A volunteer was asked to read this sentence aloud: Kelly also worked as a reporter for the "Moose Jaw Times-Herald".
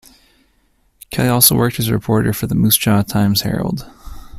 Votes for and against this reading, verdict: 1, 2, rejected